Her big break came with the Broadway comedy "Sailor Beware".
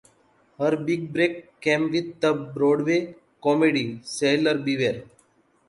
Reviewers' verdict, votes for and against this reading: accepted, 2, 1